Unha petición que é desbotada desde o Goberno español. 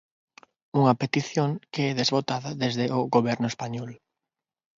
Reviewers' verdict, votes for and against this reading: rejected, 0, 6